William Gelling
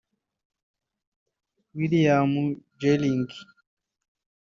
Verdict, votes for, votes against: rejected, 1, 2